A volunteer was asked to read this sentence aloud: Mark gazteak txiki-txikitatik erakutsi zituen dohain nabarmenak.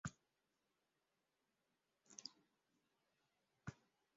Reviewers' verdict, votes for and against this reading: rejected, 0, 2